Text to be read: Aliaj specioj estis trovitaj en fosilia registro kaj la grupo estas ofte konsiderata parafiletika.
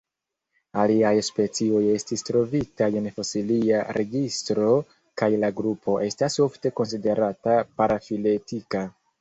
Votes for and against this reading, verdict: 2, 0, accepted